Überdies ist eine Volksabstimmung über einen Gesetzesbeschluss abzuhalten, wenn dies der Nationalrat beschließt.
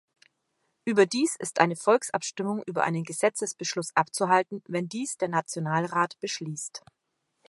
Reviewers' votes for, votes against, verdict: 2, 0, accepted